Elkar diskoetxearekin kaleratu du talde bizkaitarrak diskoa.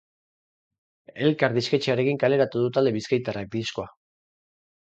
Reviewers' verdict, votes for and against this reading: rejected, 0, 4